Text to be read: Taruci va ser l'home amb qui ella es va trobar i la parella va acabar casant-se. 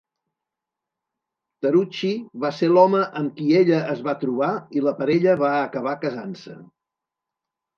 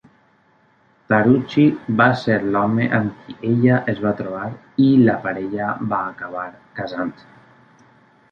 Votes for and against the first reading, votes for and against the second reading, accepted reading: 1, 2, 2, 0, second